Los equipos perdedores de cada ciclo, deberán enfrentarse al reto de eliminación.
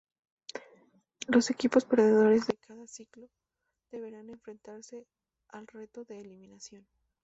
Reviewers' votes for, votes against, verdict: 0, 2, rejected